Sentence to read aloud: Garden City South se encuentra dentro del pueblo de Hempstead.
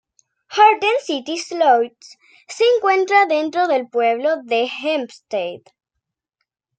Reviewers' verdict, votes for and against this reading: rejected, 0, 2